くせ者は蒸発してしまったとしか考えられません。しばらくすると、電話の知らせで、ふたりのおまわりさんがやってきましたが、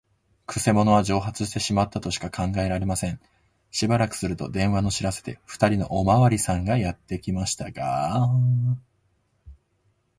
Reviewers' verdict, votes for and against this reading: accepted, 2, 0